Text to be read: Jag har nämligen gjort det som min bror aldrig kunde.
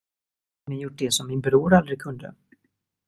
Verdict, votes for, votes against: rejected, 0, 2